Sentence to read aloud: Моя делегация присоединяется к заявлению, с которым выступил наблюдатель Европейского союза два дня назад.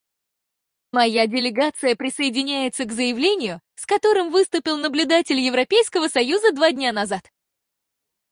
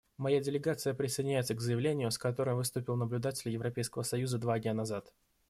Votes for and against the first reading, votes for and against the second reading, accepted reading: 2, 4, 2, 0, second